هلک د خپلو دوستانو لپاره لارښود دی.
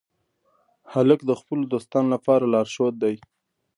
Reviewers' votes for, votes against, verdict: 2, 0, accepted